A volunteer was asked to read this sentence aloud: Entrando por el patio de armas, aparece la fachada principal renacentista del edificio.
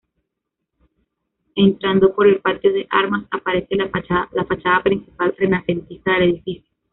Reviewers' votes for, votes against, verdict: 1, 2, rejected